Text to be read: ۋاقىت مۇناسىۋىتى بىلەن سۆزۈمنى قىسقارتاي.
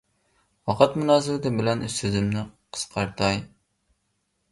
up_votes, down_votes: 0, 2